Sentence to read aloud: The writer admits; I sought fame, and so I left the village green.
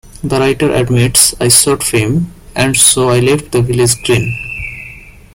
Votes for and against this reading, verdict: 1, 2, rejected